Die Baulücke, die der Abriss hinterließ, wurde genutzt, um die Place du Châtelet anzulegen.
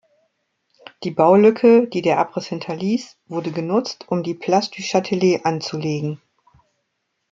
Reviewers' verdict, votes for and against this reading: accepted, 2, 0